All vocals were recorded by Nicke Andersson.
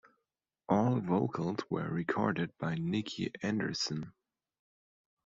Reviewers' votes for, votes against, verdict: 2, 0, accepted